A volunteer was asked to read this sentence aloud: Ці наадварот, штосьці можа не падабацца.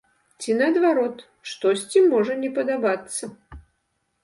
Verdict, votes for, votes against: accepted, 2, 0